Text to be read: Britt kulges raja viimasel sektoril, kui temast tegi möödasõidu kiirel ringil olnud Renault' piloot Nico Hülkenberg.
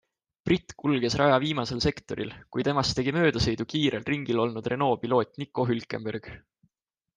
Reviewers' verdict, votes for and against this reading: accepted, 2, 0